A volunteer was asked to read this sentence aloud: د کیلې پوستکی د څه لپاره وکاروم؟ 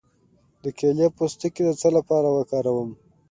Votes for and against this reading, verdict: 2, 0, accepted